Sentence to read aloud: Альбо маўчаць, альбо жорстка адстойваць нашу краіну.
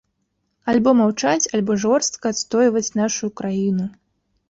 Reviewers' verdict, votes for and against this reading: accepted, 2, 0